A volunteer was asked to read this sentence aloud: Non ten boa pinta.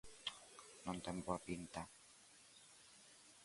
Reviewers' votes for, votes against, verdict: 2, 0, accepted